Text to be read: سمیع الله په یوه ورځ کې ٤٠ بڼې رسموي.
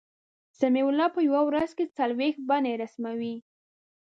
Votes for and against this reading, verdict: 0, 2, rejected